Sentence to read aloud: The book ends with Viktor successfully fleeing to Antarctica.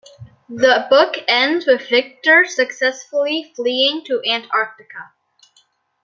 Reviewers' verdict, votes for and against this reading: accepted, 2, 0